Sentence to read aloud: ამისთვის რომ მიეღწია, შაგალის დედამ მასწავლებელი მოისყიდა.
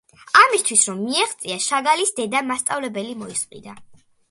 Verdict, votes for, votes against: accepted, 2, 0